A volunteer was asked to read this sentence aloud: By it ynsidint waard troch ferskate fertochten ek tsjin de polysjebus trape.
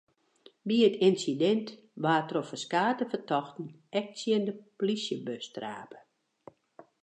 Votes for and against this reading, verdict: 0, 2, rejected